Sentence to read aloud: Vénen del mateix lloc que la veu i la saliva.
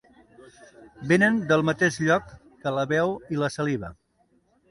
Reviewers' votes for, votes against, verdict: 2, 0, accepted